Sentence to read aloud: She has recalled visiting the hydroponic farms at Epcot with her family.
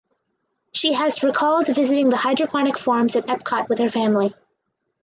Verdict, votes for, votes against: accepted, 4, 0